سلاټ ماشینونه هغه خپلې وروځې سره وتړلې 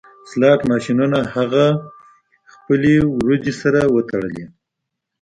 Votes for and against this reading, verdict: 1, 2, rejected